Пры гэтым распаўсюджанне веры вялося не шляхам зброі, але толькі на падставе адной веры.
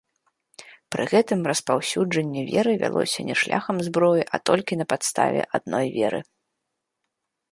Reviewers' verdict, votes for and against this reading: accepted, 2, 0